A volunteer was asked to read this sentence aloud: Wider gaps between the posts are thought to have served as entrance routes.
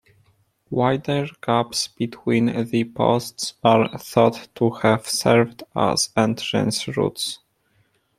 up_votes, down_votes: 2, 1